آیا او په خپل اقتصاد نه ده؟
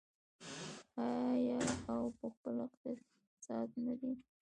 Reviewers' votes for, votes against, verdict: 0, 2, rejected